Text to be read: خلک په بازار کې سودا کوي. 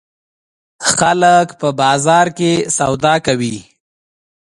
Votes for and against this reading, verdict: 2, 0, accepted